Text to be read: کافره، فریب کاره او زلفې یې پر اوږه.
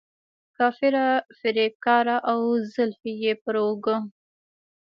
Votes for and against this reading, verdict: 1, 2, rejected